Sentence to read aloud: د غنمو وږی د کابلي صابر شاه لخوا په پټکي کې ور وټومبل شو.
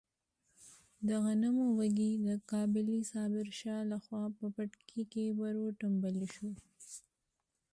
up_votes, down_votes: 1, 2